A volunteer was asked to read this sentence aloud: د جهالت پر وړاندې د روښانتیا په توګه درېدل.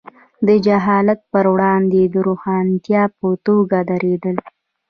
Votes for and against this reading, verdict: 1, 2, rejected